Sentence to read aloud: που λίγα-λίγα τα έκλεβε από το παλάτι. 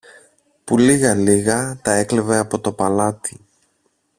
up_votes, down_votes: 2, 0